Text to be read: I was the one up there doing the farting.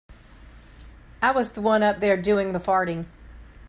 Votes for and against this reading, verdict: 2, 0, accepted